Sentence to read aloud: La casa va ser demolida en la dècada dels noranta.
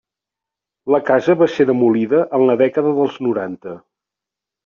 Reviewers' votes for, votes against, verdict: 3, 0, accepted